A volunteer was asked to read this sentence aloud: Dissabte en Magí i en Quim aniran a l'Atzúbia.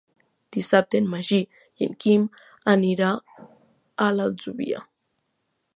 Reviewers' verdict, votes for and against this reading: rejected, 0, 2